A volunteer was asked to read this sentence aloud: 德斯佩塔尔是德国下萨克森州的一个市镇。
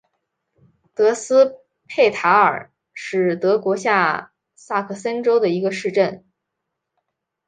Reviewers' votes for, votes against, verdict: 2, 0, accepted